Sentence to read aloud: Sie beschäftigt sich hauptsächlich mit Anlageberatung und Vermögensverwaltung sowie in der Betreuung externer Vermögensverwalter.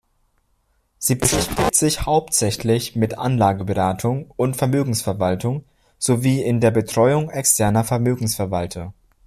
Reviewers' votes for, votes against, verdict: 0, 2, rejected